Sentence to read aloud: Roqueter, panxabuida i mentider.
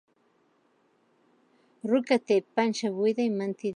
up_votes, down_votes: 1, 2